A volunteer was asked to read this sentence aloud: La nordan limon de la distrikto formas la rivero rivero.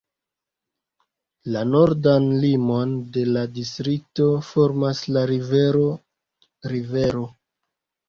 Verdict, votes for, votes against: rejected, 0, 2